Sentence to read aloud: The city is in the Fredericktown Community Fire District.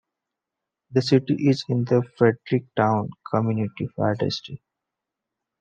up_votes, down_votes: 2, 0